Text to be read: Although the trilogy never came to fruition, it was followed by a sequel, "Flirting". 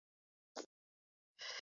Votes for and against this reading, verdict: 0, 2, rejected